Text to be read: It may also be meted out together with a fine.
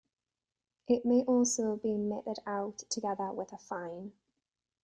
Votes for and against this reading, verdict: 1, 2, rejected